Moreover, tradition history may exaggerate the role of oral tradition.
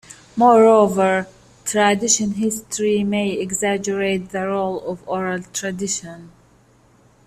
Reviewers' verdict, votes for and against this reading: accepted, 3, 0